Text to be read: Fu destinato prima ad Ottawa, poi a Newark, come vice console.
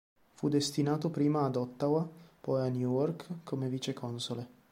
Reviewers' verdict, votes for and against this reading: accepted, 2, 0